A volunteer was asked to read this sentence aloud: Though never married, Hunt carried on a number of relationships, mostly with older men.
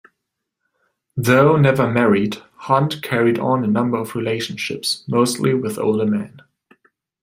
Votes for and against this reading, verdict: 2, 0, accepted